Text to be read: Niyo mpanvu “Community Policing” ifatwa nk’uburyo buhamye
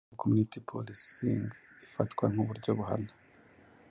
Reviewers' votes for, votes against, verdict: 1, 2, rejected